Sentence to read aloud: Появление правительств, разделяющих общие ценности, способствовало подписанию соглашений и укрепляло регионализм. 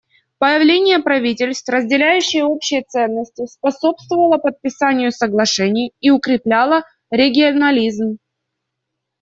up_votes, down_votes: 2, 0